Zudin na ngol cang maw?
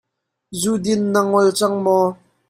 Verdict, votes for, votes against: accepted, 2, 1